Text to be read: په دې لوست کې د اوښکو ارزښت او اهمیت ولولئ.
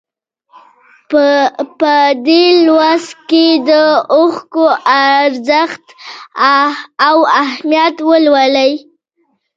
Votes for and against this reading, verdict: 1, 2, rejected